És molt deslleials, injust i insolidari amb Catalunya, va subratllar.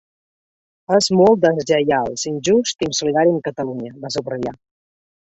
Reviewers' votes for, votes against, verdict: 3, 1, accepted